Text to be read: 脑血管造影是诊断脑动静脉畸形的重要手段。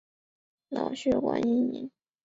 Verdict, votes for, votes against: rejected, 1, 4